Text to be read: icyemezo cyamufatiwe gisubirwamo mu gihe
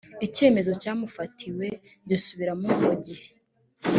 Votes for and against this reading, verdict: 2, 3, rejected